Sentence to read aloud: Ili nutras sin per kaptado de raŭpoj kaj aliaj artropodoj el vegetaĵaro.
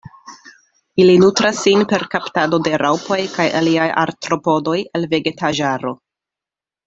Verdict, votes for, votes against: accepted, 2, 0